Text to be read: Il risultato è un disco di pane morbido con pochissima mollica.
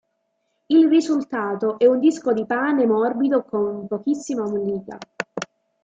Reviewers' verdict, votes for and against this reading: accepted, 2, 0